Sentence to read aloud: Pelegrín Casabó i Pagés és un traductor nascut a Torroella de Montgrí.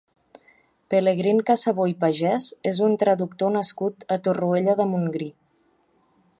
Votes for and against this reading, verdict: 2, 1, accepted